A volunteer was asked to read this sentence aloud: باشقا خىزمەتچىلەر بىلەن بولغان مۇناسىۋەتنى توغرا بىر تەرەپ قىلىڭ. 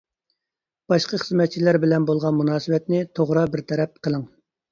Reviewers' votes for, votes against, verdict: 2, 0, accepted